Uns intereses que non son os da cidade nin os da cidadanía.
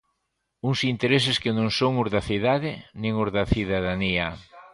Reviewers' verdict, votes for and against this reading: accepted, 2, 0